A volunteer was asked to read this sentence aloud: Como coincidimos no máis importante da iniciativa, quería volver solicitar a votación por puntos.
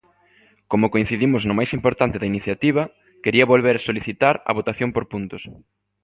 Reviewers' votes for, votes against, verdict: 2, 0, accepted